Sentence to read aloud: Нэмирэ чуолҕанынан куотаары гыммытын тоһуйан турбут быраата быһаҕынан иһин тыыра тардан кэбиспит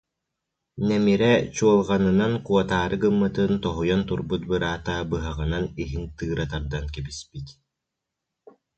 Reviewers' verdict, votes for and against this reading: accepted, 2, 0